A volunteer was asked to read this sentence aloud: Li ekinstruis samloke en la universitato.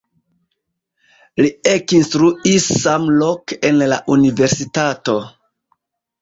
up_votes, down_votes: 1, 2